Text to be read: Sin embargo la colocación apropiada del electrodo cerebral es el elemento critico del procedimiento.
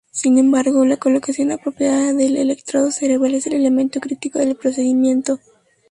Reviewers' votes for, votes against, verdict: 2, 0, accepted